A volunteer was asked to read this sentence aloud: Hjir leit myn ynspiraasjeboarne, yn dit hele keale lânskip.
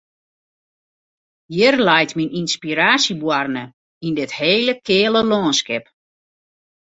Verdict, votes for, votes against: accepted, 2, 0